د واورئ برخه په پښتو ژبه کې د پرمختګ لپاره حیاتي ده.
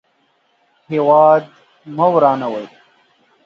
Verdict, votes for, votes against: rejected, 0, 2